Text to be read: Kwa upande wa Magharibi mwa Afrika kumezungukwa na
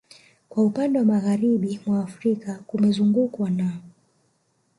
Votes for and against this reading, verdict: 1, 2, rejected